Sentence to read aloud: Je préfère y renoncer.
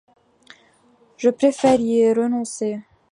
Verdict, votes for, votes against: accepted, 2, 0